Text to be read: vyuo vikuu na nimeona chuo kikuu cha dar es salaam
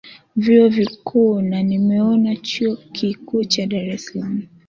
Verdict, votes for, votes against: accepted, 2, 0